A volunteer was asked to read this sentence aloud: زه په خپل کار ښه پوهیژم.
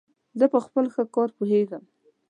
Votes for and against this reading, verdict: 2, 0, accepted